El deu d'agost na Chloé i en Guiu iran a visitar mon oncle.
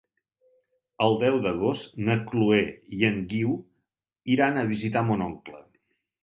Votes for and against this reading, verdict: 2, 0, accepted